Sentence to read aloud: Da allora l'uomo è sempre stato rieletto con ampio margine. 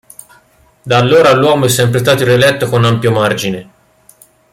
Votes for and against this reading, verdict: 1, 2, rejected